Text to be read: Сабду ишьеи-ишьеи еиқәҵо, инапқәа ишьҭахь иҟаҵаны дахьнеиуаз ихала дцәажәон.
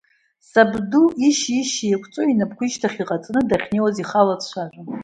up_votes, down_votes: 0, 2